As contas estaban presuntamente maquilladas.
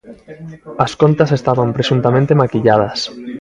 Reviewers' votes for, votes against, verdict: 3, 0, accepted